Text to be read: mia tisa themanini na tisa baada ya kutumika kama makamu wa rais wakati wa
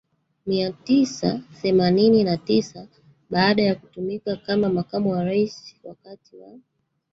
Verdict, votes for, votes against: rejected, 1, 2